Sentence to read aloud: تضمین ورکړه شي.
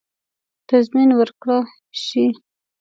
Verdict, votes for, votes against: rejected, 1, 2